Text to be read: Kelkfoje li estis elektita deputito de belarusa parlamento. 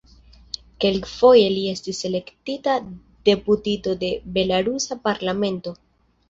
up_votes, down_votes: 1, 2